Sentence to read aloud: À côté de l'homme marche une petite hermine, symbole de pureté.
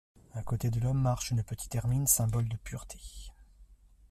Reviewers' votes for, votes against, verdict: 2, 1, accepted